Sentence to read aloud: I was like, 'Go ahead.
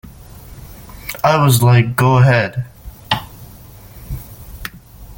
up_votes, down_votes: 2, 0